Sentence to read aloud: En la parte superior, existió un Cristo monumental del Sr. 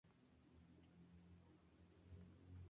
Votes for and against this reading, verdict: 0, 2, rejected